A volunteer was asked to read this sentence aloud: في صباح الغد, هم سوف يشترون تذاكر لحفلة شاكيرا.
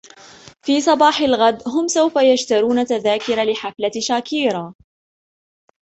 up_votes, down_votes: 2, 0